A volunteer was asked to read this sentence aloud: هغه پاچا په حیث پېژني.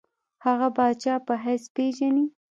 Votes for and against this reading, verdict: 2, 0, accepted